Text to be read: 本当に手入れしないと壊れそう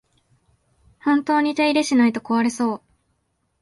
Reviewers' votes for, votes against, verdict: 2, 0, accepted